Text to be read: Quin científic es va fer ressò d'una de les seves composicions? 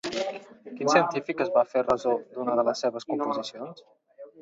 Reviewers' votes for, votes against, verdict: 1, 2, rejected